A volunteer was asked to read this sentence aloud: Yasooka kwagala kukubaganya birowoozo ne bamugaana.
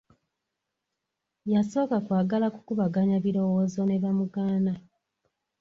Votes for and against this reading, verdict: 2, 0, accepted